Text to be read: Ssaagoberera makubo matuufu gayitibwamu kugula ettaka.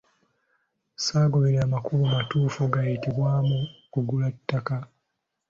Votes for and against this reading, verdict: 2, 0, accepted